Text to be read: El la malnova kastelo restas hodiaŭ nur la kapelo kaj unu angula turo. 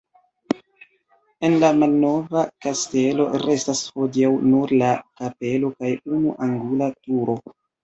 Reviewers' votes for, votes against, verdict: 2, 0, accepted